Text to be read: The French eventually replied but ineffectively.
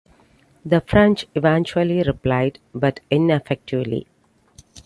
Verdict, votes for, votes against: rejected, 0, 2